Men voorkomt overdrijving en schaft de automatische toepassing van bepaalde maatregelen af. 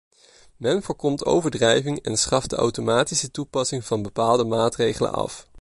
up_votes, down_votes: 2, 0